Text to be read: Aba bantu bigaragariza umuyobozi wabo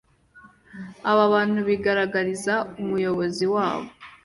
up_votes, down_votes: 2, 0